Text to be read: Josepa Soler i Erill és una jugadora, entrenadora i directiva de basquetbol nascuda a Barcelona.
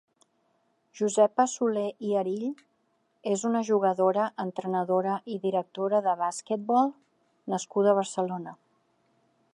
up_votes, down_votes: 1, 4